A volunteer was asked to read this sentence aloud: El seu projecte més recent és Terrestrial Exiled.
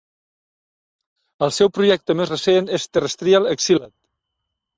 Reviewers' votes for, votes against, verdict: 2, 0, accepted